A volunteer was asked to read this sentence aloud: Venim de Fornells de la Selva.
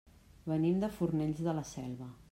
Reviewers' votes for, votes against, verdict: 3, 0, accepted